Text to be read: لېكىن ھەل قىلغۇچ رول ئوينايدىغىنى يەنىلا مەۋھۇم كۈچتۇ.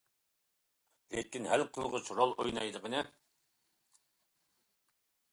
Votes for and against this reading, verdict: 0, 2, rejected